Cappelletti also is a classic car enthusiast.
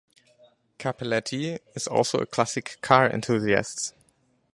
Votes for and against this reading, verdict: 2, 2, rejected